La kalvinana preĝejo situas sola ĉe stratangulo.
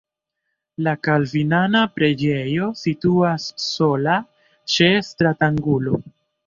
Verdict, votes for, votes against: accepted, 2, 1